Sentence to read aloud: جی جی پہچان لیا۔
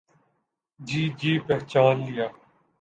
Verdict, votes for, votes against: accepted, 2, 0